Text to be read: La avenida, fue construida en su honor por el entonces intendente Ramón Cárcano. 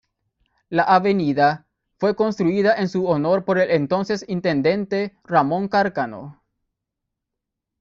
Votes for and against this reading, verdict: 0, 2, rejected